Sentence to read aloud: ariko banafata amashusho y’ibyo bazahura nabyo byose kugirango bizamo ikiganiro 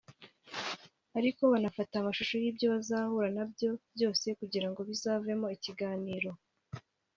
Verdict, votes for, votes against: rejected, 1, 2